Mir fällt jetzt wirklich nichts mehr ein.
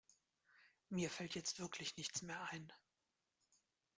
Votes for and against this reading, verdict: 2, 0, accepted